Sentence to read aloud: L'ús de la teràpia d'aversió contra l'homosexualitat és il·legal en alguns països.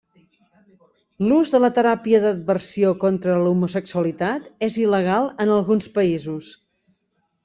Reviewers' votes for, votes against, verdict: 1, 2, rejected